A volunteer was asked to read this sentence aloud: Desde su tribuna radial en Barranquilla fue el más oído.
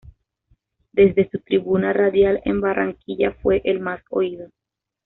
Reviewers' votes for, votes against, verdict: 2, 0, accepted